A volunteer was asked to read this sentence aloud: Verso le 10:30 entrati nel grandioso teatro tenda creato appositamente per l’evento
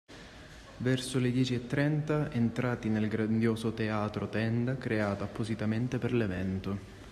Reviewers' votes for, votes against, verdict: 0, 2, rejected